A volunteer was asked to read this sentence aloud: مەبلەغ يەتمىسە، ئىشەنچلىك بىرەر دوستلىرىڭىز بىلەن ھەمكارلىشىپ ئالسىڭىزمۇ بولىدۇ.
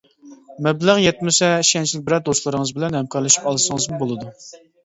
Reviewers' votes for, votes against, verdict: 2, 0, accepted